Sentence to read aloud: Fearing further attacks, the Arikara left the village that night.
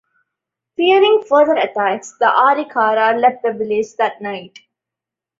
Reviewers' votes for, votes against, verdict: 3, 0, accepted